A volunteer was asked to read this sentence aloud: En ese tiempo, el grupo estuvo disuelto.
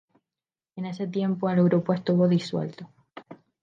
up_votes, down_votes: 4, 0